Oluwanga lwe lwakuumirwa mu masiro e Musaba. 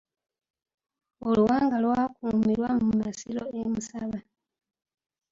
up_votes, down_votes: 1, 2